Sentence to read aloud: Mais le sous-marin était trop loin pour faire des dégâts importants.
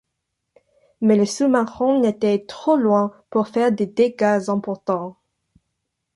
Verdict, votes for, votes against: accepted, 2, 0